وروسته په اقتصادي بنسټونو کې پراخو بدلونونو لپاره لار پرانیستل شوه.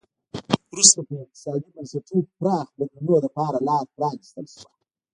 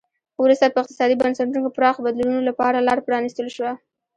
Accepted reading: second